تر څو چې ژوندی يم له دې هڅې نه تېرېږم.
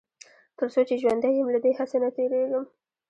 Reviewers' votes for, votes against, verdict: 2, 0, accepted